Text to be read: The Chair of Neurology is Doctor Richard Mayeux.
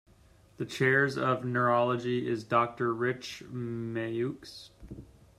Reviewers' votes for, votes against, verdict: 0, 2, rejected